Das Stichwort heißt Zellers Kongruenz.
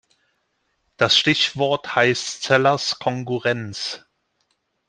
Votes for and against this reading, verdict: 0, 2, rejected